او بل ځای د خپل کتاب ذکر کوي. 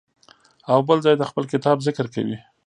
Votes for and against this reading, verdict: 1, 2, rejected